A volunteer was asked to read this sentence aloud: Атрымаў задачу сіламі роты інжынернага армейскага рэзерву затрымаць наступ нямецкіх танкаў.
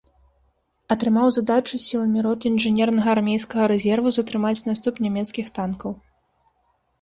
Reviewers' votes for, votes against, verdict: 2, 0, accepted